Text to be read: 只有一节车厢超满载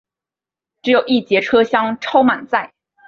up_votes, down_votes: 2, 0